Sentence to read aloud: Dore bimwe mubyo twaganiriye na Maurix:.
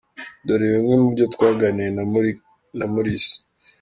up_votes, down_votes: 0, 3